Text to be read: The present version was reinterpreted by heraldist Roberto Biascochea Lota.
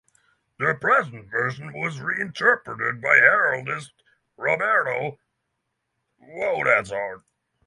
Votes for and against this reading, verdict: 0, 3, rejected